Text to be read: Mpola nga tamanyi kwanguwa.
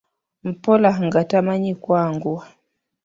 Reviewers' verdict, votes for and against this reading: rejected, 1, 2